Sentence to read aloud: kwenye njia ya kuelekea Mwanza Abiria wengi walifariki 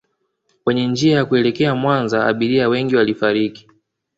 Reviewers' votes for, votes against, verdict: 2, 0, accepted